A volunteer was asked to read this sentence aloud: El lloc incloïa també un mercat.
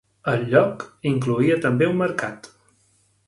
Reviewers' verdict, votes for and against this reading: accepted, 2, 0